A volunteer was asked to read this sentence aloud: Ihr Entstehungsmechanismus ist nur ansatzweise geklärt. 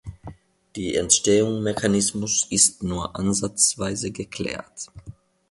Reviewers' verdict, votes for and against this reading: rejected, 1, 2